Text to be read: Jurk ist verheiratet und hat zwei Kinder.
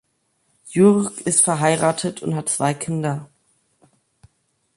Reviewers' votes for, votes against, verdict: 2, 0, accepted